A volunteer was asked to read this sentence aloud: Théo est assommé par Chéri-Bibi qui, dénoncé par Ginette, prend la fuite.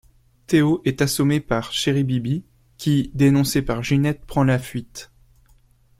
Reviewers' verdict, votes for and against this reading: accepted, 2, 0